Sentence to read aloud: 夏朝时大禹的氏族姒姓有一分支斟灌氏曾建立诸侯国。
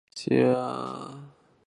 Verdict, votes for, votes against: rejected, 0, 2